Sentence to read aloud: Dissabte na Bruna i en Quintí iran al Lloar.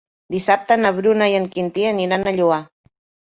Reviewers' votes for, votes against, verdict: 0, 2, rejected